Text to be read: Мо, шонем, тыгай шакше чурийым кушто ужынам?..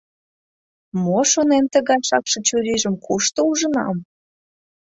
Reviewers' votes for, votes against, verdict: 0, 2, rejected